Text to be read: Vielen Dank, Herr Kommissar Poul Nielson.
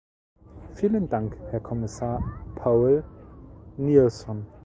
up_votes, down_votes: 1, 2